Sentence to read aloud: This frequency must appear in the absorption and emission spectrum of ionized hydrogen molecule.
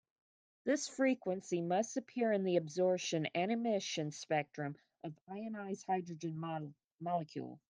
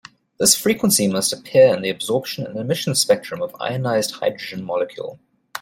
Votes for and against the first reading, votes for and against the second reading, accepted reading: 1, 2, 2, 0, second